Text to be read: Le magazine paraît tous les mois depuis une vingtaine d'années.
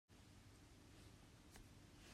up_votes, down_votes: 0, 2